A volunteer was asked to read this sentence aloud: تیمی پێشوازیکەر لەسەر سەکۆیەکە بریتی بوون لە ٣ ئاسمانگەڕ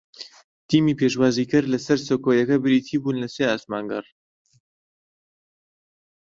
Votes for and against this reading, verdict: 0, 2, rejected